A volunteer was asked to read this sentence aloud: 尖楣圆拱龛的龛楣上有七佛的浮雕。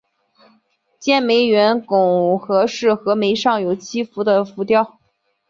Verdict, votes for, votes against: rejected, 0, 2